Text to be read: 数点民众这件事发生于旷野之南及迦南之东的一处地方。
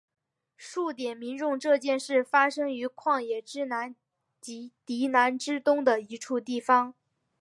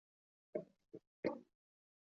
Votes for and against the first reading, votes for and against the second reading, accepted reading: 2, 0, 0, 2, first